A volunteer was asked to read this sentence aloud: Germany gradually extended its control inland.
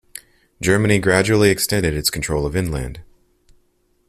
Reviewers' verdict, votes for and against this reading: rejected, 1, 2